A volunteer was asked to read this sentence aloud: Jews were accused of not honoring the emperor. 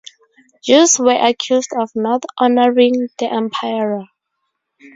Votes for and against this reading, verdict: 0, 4, rejected